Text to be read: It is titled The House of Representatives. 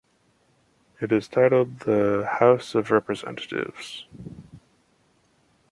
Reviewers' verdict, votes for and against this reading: accepted, 3, 1